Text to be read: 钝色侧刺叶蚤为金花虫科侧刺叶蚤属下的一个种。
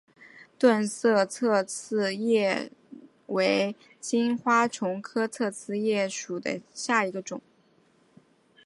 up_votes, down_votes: 0, 3